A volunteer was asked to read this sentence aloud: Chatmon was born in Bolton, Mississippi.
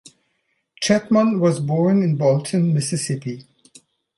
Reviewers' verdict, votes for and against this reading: accepted, 2, 0